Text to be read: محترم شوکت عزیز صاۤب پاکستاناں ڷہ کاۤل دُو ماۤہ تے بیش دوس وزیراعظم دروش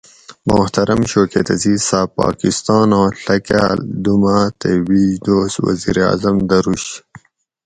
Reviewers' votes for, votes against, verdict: 4, 0, accepted